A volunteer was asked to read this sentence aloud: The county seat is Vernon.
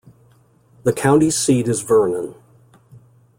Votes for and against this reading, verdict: 2, 0, accepted